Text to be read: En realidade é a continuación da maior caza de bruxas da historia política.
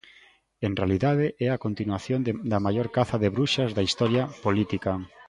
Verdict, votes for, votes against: rejected, 0, 2